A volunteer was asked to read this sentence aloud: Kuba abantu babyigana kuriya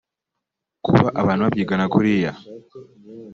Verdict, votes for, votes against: accepted, 2, 1